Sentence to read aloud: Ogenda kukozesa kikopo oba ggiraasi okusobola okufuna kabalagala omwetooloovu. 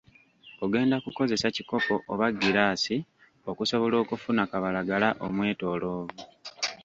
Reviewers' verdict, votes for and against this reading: rejected, 1, 2